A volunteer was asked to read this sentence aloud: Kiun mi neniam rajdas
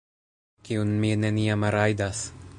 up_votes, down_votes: 3, 0